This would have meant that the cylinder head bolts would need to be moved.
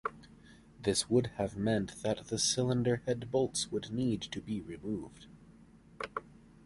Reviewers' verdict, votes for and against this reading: rejected, 1, 2